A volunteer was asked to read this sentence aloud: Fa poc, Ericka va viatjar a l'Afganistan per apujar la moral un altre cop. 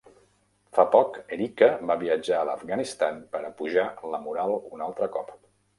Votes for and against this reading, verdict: 3, 0, accepted